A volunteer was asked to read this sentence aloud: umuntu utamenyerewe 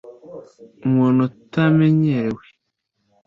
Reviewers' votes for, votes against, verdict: 2, 0, accepted